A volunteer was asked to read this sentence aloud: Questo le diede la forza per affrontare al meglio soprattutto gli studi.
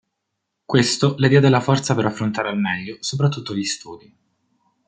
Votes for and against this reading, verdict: 1, 2, rejected